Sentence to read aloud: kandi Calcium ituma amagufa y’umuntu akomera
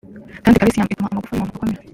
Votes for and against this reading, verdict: 0, 3, rejected